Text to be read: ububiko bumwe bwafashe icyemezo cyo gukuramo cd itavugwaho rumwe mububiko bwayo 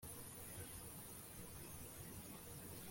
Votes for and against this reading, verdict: 1, 2, rejected